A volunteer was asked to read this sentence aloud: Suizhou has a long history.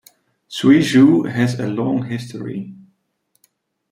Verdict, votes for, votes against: accepted, 2, 0